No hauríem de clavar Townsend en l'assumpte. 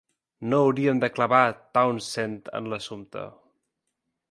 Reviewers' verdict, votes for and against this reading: accepted, 4, 0